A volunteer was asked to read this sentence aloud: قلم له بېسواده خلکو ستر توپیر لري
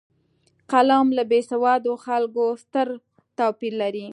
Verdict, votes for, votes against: accepted, 2, 0